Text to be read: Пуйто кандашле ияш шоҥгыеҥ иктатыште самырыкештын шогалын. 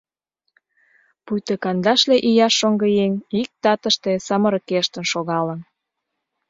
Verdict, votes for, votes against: accepted, 2, 0